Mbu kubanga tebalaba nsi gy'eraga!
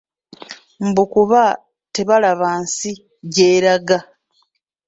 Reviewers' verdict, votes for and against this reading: rejected, 1, 2